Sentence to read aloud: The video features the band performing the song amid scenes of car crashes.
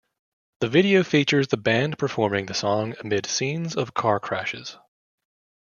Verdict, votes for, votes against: accepted, 2, 0